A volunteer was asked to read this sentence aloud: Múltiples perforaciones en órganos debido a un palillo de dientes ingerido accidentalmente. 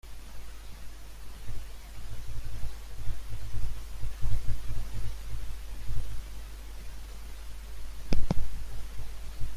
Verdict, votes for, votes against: rejected, 0, 2